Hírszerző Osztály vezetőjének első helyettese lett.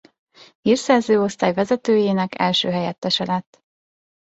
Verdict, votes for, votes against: accepted, 2, 0